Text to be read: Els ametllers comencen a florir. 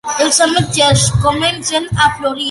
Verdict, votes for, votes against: accepted, 2, 0